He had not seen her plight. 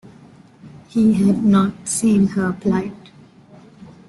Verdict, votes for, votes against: accepted, 2, 1